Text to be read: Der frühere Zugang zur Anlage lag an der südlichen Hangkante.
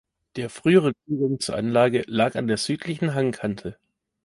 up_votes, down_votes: 0, 2